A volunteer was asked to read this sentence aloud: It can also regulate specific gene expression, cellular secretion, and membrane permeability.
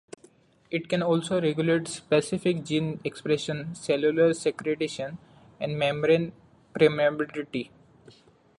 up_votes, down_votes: 1, 2